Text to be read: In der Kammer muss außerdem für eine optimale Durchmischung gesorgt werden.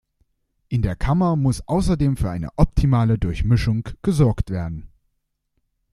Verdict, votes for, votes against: accepted, 2, 0